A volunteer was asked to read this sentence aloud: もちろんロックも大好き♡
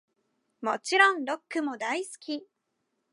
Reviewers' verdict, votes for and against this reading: accepted, 2, 0